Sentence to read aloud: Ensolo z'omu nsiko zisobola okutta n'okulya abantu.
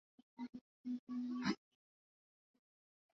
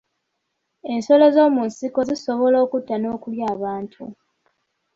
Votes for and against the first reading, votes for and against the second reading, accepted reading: 0, 2, 2, 0, second